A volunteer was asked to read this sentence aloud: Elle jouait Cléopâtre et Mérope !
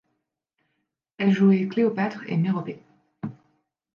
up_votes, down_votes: 1, 3